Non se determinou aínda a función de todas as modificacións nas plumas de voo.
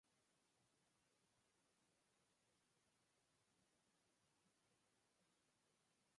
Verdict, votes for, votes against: rejected, 0, 4